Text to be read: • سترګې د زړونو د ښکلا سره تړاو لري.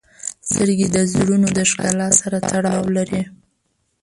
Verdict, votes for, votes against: rejected, 1, 2